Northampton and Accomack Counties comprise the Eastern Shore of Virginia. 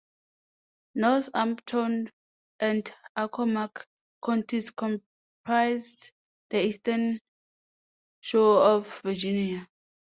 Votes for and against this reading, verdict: 2, 0, accepted